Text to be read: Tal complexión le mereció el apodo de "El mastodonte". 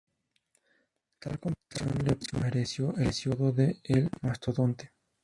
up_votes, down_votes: 0, 2